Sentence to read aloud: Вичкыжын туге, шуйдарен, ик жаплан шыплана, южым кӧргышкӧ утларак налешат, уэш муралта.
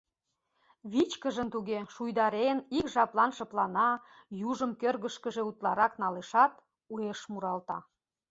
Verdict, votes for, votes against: rejected, 0, 2